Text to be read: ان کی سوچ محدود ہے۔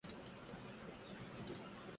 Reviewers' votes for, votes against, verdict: 0, 2, rejected